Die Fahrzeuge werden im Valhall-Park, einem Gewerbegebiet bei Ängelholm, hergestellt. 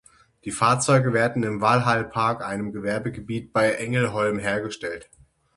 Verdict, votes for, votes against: accepted, 6, 0